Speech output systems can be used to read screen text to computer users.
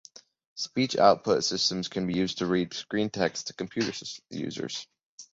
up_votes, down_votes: 1, 3